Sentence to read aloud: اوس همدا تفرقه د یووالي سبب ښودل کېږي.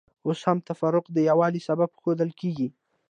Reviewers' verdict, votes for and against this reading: rejected, 1, 2